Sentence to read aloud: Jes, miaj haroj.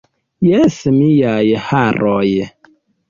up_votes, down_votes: 2, 0